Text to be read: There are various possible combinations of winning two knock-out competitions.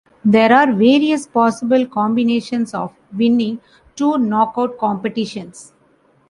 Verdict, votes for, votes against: accepted, 2, 0